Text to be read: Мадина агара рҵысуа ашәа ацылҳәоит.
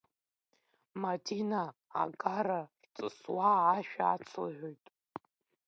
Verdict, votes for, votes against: rejected, 1, 2